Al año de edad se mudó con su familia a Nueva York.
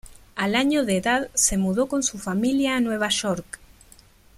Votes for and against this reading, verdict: 2, 1, accepted